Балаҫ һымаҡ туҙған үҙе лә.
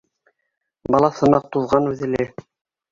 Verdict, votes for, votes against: rejected, 1, 2